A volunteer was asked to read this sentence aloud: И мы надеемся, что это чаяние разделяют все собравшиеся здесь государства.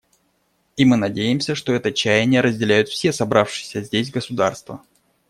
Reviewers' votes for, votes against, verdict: 2, 0, accepted